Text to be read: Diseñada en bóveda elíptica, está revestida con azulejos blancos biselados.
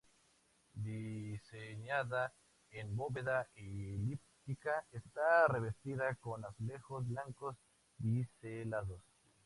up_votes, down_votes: 2, 0